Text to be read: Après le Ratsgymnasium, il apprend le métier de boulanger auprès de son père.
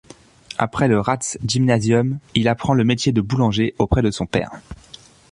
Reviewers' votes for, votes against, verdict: 2, 0, accepted